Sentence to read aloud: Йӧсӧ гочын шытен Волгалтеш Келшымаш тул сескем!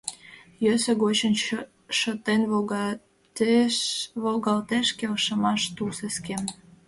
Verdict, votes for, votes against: rejected, 0, 2